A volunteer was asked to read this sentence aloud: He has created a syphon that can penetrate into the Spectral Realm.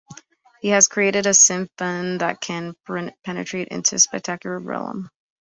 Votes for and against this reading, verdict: 1, 3, rejected